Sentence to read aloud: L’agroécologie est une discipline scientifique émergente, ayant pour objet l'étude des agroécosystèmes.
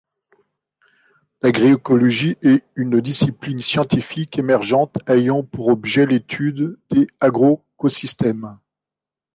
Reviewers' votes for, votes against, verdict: 1, 2, rejected